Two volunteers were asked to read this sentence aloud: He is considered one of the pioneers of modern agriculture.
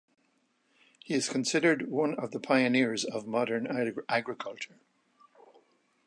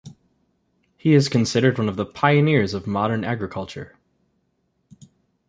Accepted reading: second